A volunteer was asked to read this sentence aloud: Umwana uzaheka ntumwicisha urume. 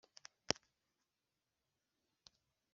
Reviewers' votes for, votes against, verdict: 1, 2, rejected